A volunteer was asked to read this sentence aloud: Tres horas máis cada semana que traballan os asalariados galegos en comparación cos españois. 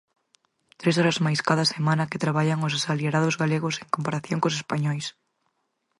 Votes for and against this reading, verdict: 4, 2, accepted